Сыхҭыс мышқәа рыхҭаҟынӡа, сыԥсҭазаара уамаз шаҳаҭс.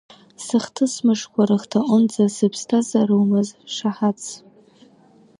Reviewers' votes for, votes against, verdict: 2, 0, accepted